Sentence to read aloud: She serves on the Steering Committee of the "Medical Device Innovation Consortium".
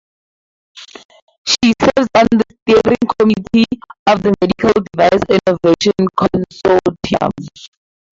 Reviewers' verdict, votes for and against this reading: rejected, 0, 4